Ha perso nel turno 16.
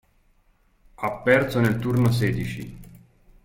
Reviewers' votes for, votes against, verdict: 0, 2, rejected